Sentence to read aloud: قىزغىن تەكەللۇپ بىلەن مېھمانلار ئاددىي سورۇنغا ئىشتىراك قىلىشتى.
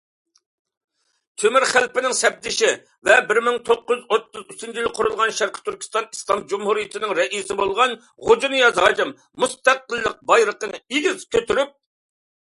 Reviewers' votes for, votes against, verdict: 0, 2, rejected